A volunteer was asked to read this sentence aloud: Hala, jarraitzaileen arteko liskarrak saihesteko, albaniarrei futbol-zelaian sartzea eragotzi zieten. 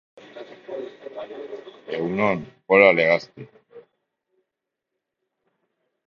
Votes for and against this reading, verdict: 0, 4, rejected